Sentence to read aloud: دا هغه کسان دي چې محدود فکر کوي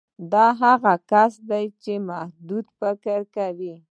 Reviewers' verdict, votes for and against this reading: rejected, 0, 2